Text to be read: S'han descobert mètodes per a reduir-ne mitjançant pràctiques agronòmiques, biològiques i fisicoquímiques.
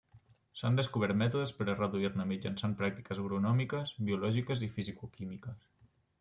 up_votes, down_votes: 2, 1